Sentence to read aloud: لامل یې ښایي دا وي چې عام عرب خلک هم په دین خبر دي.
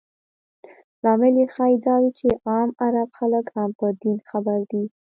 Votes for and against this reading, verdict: 1, 2, rejected